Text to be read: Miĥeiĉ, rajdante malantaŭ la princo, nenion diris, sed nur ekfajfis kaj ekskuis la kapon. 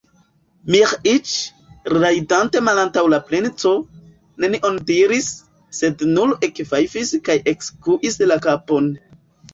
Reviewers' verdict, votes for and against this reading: rejected, 0, 2